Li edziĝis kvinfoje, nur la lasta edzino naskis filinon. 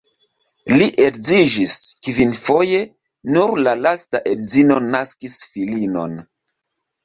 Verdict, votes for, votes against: accepted, 3, 0